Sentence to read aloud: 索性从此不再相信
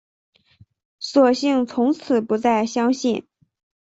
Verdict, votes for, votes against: accepted, 2, 0